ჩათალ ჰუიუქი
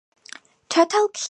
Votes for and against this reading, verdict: 4, 0, accepted